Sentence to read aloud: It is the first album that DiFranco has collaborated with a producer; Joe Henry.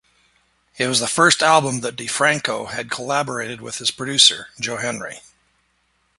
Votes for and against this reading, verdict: 1, 2, rejected